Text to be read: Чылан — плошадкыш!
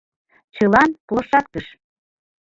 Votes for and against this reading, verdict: 1, 2, rejected